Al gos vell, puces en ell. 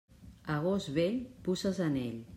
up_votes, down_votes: 0, 2